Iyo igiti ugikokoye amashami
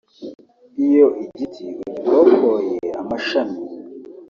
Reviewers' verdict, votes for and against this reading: accepted, 2, 0